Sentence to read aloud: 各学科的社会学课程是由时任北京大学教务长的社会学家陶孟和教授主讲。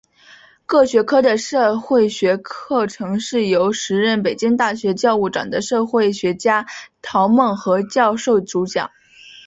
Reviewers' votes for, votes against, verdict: 6, 0, accepted